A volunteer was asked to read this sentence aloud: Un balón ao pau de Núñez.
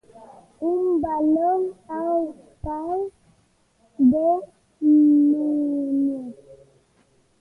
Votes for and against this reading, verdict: 1, 2, rejected